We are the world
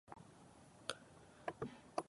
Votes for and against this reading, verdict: 0, 2, rejected